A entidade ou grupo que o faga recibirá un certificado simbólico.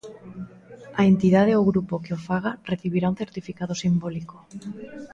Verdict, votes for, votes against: accepted, 2, 0